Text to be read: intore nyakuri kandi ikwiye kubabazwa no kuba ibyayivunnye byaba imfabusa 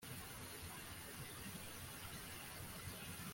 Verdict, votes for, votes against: rejected, 1, 2